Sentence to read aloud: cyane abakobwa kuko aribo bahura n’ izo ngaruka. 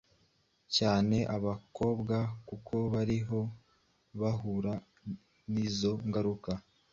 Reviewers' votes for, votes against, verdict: 1, 2, rejected